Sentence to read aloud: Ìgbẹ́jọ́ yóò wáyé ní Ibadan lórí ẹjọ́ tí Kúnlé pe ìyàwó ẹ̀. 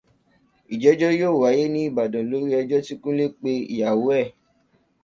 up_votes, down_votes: 2, 0